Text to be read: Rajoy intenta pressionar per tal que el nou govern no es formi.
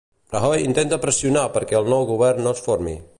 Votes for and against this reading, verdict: 0, 2, rejected